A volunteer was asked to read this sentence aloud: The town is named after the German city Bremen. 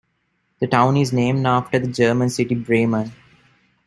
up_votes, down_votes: 2, 1